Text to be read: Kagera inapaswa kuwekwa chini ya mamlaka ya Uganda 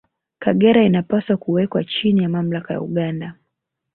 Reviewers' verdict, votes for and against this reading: rejected, 0, 2